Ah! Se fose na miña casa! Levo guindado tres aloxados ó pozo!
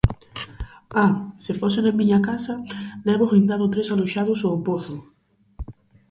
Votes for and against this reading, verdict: 2, 2, rejected